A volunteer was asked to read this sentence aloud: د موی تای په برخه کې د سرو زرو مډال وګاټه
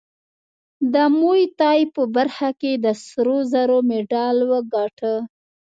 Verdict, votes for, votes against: accepted, 2, 0